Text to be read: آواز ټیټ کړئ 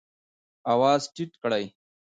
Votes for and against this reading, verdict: 2, 0, accepted